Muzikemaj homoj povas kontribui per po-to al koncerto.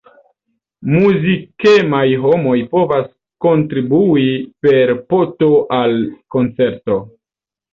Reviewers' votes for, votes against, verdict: 1, 2, rejected